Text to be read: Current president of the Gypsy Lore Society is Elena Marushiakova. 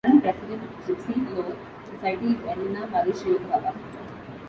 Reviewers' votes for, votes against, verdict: 0, 2, rejected